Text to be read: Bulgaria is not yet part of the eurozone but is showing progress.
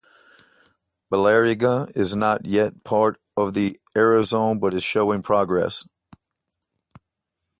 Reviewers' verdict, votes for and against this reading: rejected, 0, 2